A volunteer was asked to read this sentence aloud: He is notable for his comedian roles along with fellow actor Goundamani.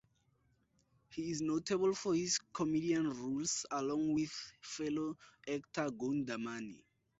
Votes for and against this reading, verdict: 4, 2, accepted